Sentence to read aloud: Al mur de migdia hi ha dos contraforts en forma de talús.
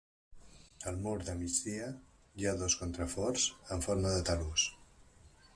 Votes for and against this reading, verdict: 2, 1, accepted